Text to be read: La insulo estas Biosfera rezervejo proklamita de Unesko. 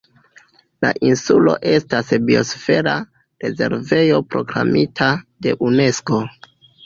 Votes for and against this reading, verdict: 2, 0, accepted